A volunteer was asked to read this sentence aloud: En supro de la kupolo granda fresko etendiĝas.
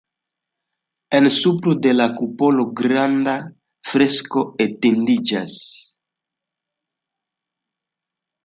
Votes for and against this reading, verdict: 2, 0, accepted